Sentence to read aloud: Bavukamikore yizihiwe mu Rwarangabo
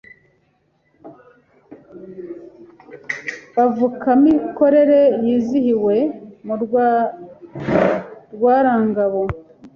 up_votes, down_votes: 0, 2